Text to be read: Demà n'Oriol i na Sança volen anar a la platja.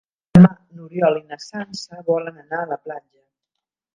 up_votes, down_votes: 1, 2